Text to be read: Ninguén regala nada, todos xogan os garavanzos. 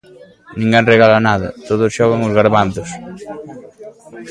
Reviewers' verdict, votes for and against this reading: rejected, 0, 2